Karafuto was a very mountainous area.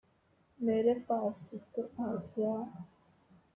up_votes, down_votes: 1, 2